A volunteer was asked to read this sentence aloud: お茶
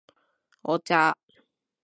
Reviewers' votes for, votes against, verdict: 3, 0, accepted